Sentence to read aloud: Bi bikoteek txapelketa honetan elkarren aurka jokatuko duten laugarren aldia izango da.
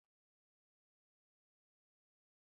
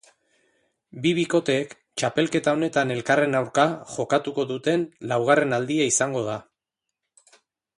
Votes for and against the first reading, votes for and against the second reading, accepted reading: 0, 4, 2, 1, second